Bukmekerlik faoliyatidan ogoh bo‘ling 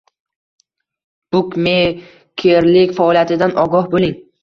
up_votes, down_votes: 1, 2